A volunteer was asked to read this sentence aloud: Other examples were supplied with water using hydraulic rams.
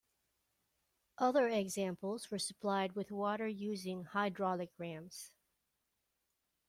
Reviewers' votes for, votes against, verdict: 2, 0, accepted